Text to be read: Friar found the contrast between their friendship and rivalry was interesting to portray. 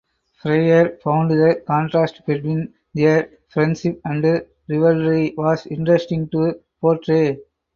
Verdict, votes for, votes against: rejected, 0, 4